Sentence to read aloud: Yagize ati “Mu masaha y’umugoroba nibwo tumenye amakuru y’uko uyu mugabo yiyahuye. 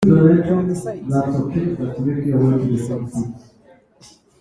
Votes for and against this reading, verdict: 1, 2, rejected